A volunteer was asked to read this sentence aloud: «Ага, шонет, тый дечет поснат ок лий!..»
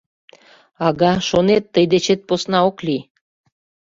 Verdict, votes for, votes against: rejected, 0, 2